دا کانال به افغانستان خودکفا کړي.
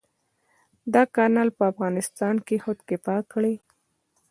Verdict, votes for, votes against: accepted, 2, 1